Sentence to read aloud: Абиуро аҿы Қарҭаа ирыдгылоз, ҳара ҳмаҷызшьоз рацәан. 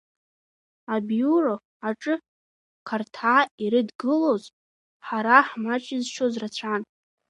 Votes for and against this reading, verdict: 3, 2, accepted